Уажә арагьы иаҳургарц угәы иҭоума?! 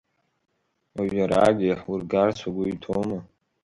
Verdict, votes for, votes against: rejected, 1, 2